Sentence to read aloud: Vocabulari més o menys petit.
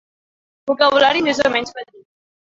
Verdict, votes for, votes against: rejected, 1, 2